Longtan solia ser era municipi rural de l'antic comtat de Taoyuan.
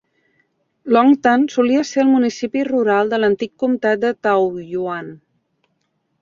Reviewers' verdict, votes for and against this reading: rejected, 0, 2